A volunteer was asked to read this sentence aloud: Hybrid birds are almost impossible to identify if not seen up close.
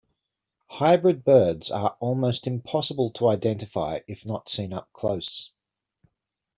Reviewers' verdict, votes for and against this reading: accepted, 2, 0